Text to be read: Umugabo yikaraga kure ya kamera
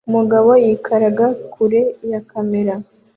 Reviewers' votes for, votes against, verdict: 2, 0, accepted